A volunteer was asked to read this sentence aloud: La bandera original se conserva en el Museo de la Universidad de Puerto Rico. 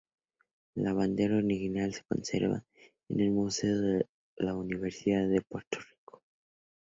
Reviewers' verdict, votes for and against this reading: rejected, 0, 2